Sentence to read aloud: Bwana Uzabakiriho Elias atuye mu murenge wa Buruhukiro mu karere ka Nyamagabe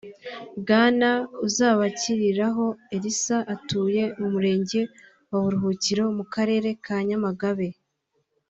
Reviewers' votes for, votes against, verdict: 0, 2, rejected